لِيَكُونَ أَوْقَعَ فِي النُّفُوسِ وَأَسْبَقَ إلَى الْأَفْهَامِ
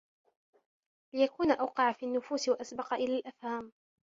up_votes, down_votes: 2, 1